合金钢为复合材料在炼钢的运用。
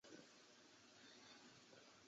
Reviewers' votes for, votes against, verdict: 0, 4, rejected